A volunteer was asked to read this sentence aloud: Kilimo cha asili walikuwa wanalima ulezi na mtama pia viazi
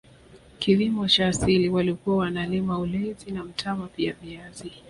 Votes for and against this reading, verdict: 2, 0, accepted